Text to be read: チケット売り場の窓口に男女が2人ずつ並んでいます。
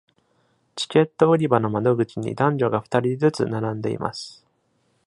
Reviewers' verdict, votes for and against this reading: rejected, 0, 2